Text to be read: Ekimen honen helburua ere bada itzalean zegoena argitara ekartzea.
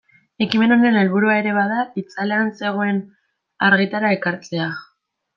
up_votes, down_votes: 1, 2